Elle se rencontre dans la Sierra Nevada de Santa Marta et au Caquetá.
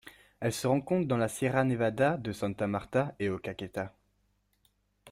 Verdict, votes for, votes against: accepted, 2, 0